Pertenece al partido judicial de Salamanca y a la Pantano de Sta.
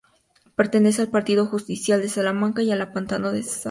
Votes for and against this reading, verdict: 0, 2, rejected